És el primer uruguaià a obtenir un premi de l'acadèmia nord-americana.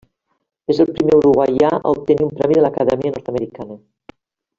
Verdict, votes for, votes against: rejected, 0, 2